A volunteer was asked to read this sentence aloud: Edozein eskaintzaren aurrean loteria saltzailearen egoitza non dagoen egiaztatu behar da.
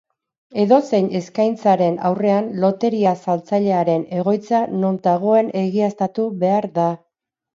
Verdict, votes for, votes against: accepted, 2, 0